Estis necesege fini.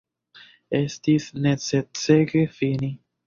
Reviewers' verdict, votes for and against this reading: rejected, 0, 2